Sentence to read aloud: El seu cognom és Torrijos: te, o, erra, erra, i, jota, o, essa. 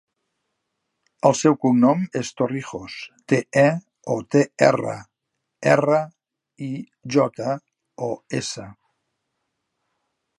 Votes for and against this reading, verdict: 0, 2, rejected